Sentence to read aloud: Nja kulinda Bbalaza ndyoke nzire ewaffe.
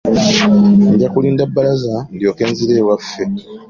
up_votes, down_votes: 2, 1